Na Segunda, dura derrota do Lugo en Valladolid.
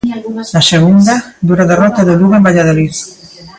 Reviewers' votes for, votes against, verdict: 2, 1, accepted